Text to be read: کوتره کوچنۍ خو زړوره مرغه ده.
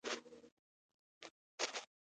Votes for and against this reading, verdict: 2, 1, accepted